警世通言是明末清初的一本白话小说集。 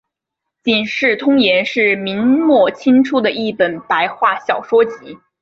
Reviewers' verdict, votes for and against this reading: accepted, 5, 0